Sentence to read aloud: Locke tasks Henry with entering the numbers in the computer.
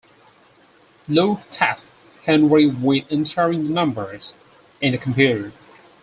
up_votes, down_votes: 4, 2